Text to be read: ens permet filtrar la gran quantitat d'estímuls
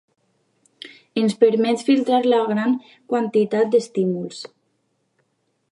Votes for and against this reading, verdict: 2, 0, accepted